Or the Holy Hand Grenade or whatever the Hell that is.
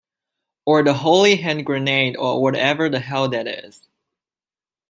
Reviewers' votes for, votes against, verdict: 1, 2, rejected